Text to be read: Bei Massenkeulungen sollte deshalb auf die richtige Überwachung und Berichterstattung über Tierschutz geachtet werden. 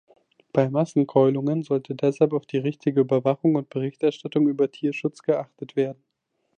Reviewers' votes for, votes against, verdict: 2, 0, accepted